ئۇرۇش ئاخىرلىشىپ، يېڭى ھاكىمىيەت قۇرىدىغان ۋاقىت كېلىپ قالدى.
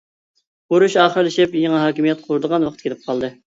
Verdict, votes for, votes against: accepted, 2, 0